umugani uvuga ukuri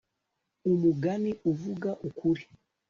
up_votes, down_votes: 2, 0